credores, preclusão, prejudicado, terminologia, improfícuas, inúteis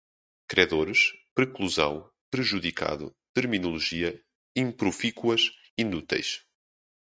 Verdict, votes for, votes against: accepted, 2, 0